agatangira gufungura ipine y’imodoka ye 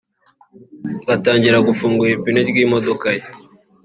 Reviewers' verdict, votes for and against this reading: rejected, 0, 2